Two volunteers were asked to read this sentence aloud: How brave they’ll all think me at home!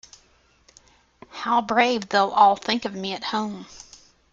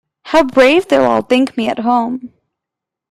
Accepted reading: second